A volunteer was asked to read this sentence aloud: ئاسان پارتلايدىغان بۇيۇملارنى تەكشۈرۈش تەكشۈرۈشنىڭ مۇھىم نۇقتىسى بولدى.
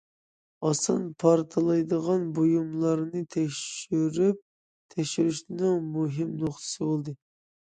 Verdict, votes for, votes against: rejected, 0, 2